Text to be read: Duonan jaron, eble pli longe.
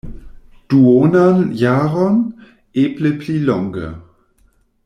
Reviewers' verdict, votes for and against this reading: accepted, 2, 0